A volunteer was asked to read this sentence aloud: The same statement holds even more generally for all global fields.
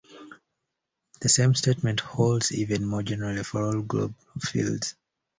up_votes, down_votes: 0, 2